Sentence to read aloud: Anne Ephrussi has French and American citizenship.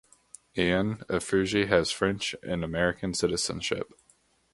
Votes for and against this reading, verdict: 2, 0, accepted